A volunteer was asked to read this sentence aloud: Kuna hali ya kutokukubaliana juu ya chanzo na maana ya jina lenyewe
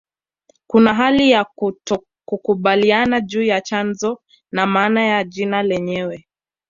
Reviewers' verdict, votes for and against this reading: rejected, 1, 2